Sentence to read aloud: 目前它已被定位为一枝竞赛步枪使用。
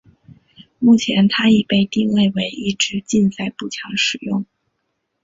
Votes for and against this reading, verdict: 2, 0, accepted